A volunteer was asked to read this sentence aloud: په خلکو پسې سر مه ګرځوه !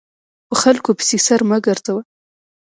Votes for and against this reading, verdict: 2, 0, accepted